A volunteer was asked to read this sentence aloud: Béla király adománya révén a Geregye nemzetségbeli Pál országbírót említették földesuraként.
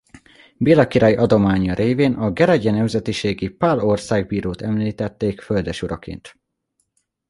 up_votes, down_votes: 0, 2